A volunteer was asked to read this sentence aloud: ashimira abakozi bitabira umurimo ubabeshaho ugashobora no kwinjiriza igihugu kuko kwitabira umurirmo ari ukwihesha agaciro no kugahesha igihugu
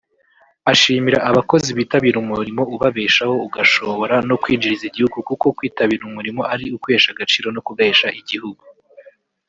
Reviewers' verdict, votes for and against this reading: rejected, 0, 3